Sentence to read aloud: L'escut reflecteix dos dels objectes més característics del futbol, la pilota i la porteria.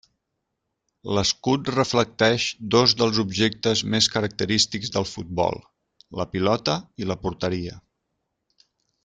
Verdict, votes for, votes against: accepted, 3, 0